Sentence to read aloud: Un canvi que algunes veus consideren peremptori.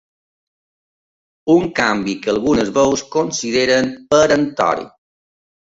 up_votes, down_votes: 3, 0